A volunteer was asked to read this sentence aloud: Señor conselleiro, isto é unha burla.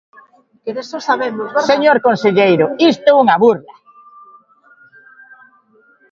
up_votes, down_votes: 0, 2